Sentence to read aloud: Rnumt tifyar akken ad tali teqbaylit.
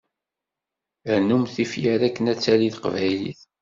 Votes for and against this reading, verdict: 2, 0, accepted